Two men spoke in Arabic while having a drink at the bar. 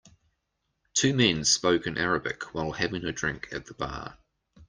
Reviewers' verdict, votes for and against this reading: accepted, 2, 0